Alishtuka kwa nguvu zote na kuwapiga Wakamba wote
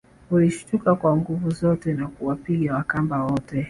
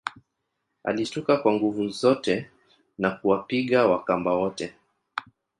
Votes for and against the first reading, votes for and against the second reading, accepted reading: 2, 1, 0, 2, first